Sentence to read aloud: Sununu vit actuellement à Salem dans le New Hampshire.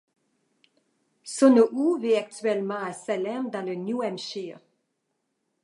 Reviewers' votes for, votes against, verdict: 1, 2, rejected